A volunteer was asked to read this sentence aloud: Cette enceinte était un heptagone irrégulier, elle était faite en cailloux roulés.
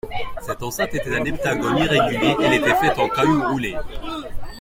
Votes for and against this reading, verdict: 2, 0, accepted